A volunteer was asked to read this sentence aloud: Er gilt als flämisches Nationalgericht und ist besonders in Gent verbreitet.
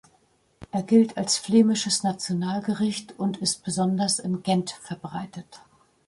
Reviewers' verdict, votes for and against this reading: accepted, 2, 0